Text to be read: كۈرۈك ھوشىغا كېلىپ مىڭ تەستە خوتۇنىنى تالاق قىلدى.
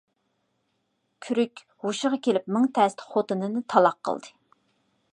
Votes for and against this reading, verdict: 2, 0, accepted